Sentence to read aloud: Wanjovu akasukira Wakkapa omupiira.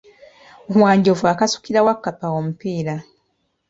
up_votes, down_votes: 2, 1